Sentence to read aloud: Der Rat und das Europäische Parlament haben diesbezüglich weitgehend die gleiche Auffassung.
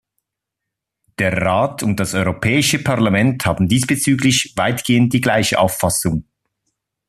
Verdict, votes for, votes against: accepted, 2, 0